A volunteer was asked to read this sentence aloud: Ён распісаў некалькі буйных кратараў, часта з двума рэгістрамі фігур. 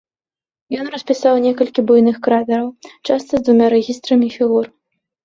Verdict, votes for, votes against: accepted, 2, 0